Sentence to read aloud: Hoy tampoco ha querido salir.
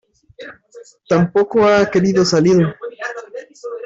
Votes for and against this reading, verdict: 0, 2, rejected